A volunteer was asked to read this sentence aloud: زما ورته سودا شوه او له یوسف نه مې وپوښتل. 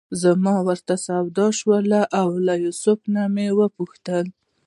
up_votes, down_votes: 1, 2